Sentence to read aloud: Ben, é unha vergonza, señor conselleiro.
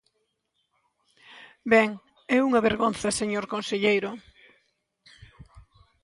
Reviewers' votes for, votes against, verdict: 2, 0, accepted